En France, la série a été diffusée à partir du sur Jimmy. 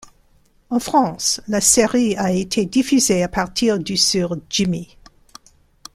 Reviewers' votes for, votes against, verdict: 2, 1, accepted